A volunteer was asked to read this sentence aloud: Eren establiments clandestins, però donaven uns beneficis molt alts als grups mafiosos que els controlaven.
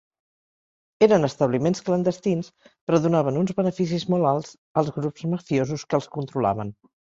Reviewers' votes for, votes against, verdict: 3, 0, accepted